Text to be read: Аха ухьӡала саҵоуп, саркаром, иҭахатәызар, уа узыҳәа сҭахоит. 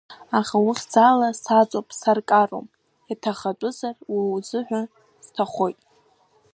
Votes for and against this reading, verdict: 2, 1, accepted